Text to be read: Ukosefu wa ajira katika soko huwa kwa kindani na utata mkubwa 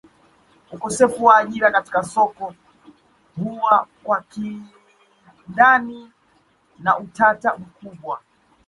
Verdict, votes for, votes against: accepted, 2, 1